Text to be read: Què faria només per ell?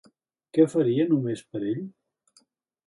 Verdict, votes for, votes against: accepted, 2, 0